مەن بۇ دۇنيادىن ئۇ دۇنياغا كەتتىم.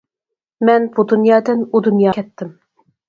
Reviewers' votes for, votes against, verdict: 0, 4, rejected